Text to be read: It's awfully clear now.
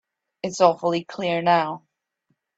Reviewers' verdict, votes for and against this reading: accepted, 3, 0